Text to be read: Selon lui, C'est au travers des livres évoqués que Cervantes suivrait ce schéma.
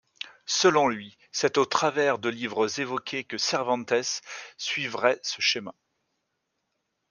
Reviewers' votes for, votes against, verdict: 1, 2, rejected